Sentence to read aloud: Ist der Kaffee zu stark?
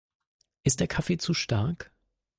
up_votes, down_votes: 2, 0